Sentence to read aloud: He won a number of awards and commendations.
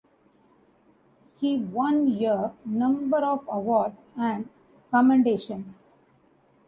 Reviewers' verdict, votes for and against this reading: rejected, 1, 2